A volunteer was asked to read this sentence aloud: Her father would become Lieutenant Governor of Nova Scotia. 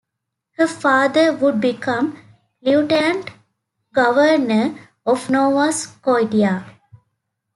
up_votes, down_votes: 1, 2